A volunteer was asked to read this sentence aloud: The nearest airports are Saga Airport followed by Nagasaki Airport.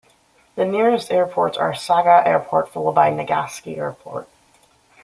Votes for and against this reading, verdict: 2, 1, accepted